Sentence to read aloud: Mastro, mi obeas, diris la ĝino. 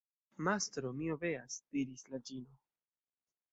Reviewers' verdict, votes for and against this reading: rejected, 1, 2